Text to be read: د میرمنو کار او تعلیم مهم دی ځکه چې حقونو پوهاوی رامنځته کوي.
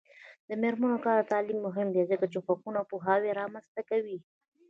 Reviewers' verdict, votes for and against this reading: accepted, 2, 1